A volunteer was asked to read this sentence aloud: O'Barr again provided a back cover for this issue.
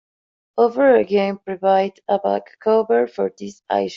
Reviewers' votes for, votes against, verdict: 0, 2, rejected